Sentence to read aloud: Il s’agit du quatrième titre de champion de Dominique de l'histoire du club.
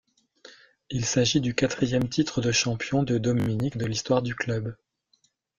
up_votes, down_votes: 0, 2